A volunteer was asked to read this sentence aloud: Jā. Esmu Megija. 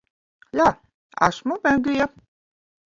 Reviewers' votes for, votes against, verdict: 1, 2, rejected